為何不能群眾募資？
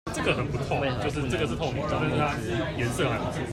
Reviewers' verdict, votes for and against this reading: rejected, 1, 2